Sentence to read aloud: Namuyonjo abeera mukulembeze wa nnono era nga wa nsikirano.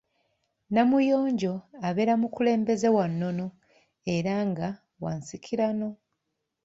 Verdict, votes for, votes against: accepted, 2, 0